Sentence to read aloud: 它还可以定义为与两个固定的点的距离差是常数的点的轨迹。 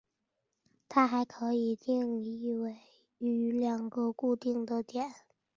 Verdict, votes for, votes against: rejected, 0, 2